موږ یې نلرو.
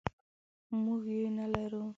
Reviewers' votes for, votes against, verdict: 1, 2, rejected